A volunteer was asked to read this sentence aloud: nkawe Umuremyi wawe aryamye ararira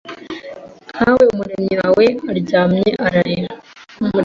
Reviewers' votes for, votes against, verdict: 2, 0, accepted